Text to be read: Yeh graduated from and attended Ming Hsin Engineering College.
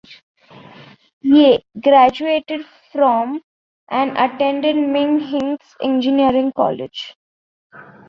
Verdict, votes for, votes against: accepted, 2, 1